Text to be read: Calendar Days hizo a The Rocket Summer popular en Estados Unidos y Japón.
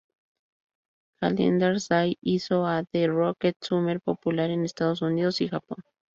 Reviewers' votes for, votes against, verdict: 2, 2, rejected